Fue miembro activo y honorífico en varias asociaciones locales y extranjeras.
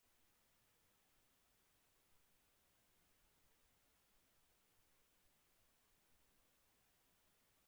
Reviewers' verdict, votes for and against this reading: rejected, 0, 2